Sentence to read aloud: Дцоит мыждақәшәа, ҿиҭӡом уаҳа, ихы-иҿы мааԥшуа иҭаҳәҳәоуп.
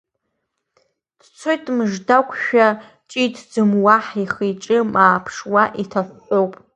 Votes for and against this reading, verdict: 0, 2, rejected